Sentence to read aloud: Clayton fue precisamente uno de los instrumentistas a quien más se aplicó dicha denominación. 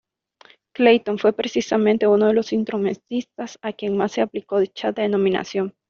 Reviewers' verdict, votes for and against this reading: accepted, 2, 0